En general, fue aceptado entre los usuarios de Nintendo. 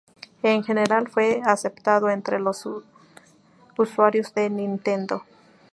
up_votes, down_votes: 2, 2